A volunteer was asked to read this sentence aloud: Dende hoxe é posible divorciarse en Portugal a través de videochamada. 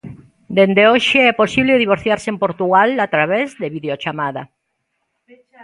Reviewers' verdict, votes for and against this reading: rejected, 1, 2